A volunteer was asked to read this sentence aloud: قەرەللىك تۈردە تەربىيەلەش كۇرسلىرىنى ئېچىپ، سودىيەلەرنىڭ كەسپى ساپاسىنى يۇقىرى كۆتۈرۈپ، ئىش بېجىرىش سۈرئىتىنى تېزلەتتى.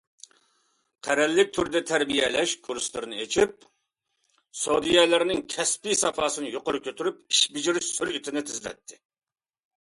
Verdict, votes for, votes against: accepted, 2, 0